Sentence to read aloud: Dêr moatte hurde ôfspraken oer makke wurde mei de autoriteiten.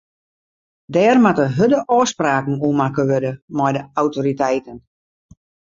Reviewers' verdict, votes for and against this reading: accepted, 2, 0